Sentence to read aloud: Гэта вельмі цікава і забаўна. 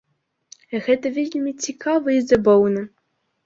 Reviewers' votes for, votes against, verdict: 2, 0, accepted